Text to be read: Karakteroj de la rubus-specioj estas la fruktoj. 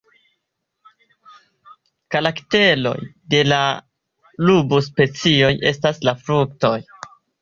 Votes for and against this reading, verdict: 2, 1, accepted